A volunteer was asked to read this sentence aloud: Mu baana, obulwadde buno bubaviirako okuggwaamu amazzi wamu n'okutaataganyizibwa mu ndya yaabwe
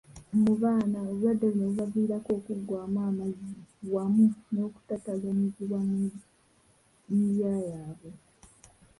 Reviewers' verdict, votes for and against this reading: rejected, 0, 2